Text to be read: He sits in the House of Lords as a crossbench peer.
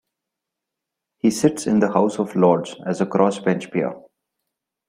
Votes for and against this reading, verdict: 2, 0, accepted